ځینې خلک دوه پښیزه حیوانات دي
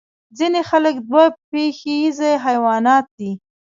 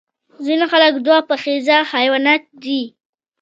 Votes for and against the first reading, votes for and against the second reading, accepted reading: 0, 2, 2, 1, second